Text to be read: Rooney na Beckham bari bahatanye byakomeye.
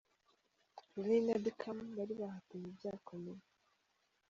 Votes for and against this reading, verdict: 2, 1, accepted